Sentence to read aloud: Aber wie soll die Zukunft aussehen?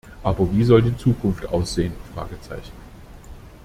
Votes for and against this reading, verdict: 0, 2, rejected